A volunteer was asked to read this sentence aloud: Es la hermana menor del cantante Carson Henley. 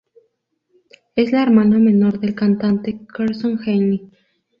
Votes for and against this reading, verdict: 2, 0, accepted